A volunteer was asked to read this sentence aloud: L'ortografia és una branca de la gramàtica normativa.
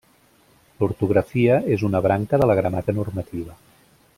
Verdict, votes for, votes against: rejected, 1, 2